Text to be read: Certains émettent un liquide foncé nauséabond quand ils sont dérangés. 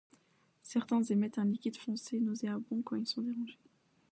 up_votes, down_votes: 0, 2